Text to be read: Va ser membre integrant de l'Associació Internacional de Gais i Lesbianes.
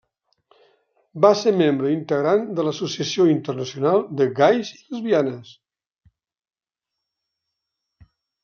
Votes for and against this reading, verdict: 0, 2, rejected